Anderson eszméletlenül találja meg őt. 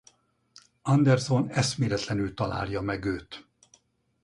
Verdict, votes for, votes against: accepted, 4, 0